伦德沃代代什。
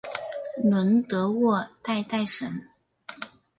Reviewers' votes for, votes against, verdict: 3, 0, accepted